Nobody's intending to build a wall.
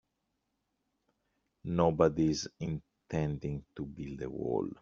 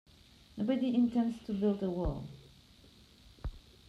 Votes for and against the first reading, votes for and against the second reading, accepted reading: 2, 0, 0, 2, first